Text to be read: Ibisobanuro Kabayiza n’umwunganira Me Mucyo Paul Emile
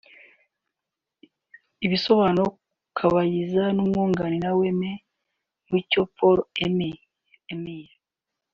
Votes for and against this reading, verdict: 0, 2, rejected